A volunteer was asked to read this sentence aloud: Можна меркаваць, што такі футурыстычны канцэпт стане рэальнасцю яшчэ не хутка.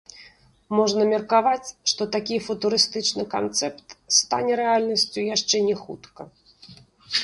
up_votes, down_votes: 2, 1